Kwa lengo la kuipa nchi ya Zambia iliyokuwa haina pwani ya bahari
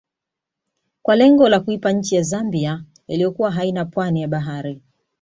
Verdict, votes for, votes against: accepted, 2, 0